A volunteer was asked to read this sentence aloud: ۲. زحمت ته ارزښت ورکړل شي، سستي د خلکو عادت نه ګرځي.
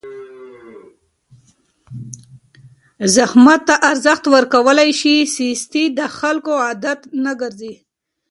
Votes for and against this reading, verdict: 0, 2, rejected